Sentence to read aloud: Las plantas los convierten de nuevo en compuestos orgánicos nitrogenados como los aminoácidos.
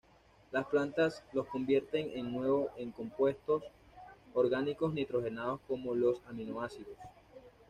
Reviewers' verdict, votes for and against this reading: rejected, 1, 2